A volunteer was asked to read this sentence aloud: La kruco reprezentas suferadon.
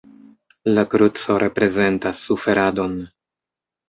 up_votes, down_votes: 2, 1